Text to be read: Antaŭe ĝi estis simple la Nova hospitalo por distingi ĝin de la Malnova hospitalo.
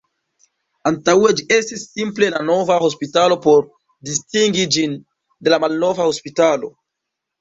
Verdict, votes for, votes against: rejected, 1, 2